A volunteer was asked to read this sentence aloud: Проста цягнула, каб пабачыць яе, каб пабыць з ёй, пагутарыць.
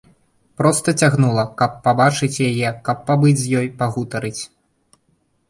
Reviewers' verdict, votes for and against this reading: accepted, 2, 0